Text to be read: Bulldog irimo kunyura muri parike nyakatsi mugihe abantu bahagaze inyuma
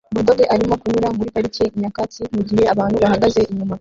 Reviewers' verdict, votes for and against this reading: rejected, 0, 2